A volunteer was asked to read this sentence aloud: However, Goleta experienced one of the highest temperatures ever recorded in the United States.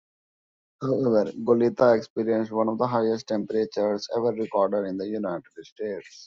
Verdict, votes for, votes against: rejected, 1, 2